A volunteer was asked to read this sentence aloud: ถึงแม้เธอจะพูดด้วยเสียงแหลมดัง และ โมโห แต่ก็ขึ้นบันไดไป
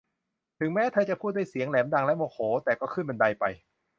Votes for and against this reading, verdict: 2, 0, accepted